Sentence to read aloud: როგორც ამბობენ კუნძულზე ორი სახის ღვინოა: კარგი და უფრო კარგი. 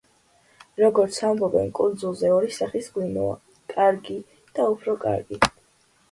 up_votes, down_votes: 2, 0